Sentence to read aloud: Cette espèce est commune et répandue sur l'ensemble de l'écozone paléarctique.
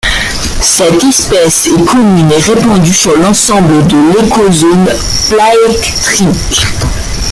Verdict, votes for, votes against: rejected, 0, 2